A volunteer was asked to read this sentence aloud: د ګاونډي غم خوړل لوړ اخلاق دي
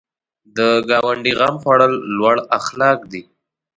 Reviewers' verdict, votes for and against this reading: rejected, 1, 2